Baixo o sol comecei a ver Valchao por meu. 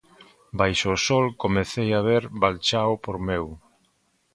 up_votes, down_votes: 2, 0